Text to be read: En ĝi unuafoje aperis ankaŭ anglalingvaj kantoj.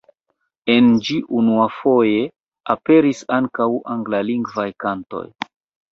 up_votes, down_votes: 0, 2